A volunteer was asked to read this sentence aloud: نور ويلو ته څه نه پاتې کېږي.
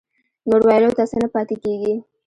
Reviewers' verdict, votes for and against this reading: accepted, 2, 1